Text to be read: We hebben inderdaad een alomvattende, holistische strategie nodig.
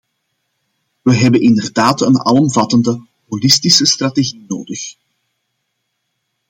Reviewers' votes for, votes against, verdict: 2, 0, accepted